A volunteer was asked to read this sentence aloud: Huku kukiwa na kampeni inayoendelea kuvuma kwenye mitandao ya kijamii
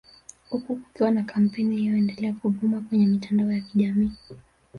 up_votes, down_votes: 1, 2